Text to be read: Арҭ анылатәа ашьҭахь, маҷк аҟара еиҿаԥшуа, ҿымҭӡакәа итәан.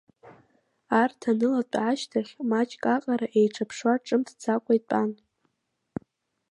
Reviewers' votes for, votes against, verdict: 0, 2, rejected